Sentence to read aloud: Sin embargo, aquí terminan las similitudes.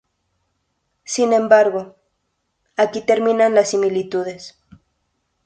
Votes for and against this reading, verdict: 2, 0, accepted